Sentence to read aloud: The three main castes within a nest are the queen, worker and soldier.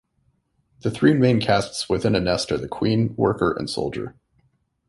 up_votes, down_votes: 2, 0